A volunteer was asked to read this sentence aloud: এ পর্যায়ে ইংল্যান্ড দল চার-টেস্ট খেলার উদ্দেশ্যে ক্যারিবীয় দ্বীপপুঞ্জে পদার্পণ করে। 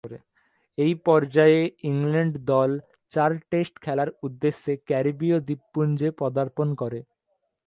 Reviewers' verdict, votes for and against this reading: rejected, 1, 2